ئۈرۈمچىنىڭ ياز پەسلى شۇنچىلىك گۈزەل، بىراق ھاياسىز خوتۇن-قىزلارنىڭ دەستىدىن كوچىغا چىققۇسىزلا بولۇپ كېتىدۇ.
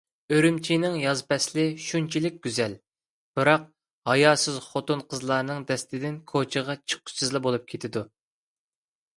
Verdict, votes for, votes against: accepted, 2, 0